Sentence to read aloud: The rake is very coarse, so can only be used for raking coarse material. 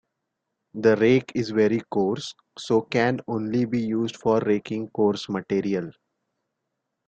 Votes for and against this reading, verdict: 2, 0, accepted